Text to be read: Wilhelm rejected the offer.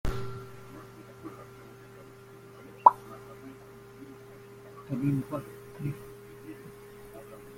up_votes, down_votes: 0, 2